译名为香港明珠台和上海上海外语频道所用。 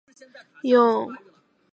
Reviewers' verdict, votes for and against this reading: rejected, 0, 2